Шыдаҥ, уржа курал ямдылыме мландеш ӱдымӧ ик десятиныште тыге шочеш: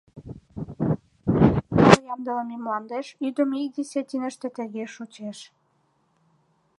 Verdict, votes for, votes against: rejected, 0, 2